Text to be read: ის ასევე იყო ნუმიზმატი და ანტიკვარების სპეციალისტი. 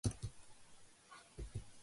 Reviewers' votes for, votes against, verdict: 0, 2, rejected